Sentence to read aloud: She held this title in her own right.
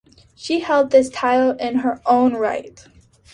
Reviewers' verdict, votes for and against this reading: accepted, 2, 0